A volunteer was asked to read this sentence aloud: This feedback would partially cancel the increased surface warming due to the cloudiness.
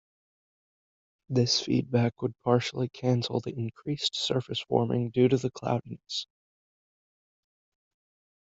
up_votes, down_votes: 1, 2